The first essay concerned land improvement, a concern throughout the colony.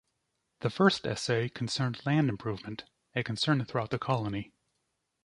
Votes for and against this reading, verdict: 2, 0, accepted